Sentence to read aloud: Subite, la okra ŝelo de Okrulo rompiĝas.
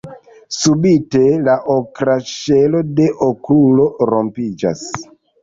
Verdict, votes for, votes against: rejected, 1, 2